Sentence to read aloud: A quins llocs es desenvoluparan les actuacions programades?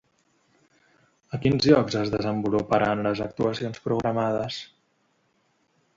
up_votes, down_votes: 2, 0